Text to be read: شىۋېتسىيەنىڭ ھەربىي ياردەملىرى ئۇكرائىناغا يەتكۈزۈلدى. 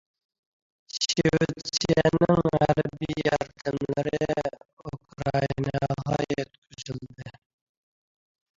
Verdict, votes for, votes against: rejected, 0, 2